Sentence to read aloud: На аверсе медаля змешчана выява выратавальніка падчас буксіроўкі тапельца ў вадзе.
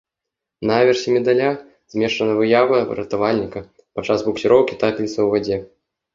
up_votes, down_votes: 1, 2